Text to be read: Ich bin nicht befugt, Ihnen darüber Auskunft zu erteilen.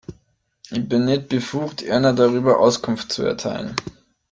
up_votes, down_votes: 1, 2